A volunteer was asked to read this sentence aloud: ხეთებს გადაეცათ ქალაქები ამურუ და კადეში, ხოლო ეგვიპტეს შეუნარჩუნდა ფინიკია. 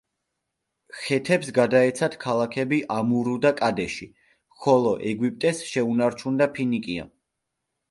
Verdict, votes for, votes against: accepted, 2, 1